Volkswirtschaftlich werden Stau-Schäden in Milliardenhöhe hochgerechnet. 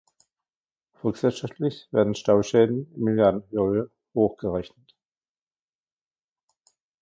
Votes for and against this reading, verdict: 0, 2, rejected